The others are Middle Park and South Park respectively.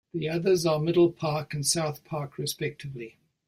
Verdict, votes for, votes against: accepted, 2, 0